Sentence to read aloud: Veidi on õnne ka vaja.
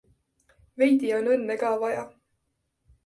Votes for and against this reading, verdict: 2, 0, accepted